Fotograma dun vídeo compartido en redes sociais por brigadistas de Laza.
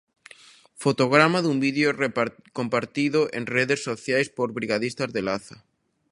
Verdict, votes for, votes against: rejected, 0, 2